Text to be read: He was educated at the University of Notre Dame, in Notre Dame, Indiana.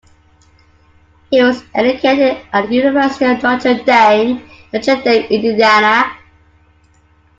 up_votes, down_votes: 2, 1